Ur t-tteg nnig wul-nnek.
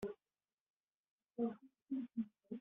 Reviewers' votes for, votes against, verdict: 1, 2, rejected